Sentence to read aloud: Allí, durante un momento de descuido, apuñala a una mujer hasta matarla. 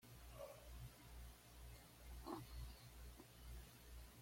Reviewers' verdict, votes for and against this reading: rejected, 0, 2